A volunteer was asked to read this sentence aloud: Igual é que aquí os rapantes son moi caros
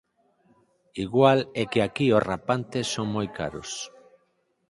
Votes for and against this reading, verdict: 4, 0, accepted